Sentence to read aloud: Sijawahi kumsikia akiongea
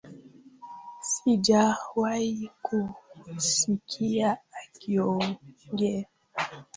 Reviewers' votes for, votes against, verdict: 2, 1, accepted